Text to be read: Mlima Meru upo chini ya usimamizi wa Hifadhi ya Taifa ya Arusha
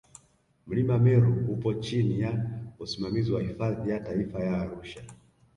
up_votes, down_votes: 2, 0